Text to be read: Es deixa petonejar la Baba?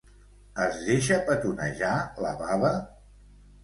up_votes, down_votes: 3, 0